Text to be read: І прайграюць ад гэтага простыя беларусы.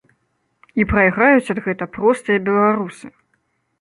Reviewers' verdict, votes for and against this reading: rejected, 1, 3